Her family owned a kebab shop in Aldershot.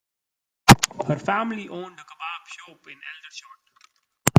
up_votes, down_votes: 1, 2